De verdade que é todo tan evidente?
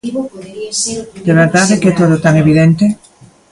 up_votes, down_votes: 1, 2